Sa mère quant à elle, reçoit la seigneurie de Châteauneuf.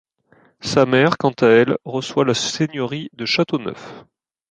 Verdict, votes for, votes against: accepted, 2, 0